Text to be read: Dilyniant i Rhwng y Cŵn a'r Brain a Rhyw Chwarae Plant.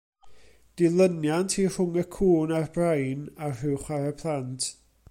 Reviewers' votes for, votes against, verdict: 2, 0, accepted